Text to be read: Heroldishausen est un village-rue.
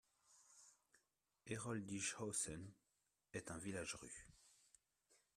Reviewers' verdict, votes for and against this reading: accepted, 2, 0